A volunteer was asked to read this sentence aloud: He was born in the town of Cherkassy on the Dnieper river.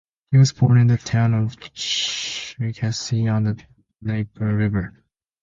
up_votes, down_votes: 0, 2